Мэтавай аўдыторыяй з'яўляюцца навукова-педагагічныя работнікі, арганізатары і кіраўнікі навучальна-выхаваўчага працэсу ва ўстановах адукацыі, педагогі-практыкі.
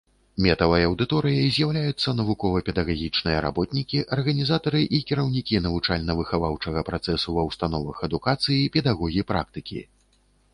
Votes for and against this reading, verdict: 1, 2, rejected